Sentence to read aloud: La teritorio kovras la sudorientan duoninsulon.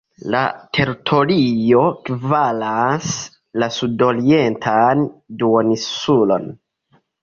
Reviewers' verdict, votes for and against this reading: rejected, 0, 2